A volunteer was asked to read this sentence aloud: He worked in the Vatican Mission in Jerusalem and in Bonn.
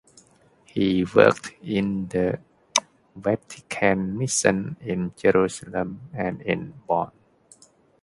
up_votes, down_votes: 1, 2